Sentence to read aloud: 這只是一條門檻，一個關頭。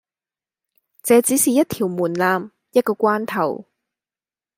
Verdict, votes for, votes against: accepted, 2, 0